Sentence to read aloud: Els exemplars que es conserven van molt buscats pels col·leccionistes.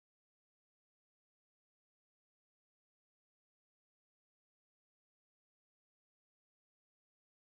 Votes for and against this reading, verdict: 0, 2, rejected